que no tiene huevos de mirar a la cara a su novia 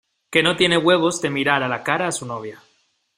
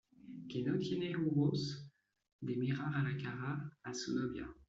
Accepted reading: first